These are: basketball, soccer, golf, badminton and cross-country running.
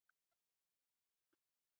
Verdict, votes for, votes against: rejected, 0, 2